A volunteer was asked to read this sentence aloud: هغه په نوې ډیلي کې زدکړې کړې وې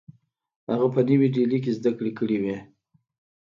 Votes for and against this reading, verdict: 2, 0, accepted